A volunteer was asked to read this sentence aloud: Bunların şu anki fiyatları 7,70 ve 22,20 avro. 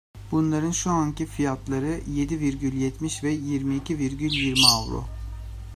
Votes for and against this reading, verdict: 0, 2, rejected